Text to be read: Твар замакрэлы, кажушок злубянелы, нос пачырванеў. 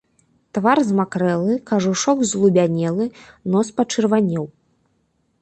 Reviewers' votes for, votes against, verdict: 1, 2, rejected